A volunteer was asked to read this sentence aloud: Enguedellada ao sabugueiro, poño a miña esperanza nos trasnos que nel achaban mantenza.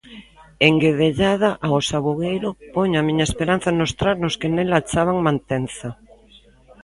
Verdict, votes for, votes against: accepted, 2, 0